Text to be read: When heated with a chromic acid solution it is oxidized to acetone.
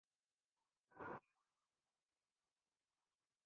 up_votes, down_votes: 0, 2